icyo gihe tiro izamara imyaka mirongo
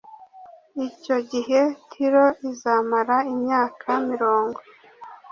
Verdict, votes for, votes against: accepted, 2, 0